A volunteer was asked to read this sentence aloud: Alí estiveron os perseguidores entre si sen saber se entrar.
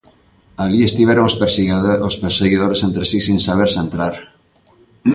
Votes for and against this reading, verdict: 0, 4, rejected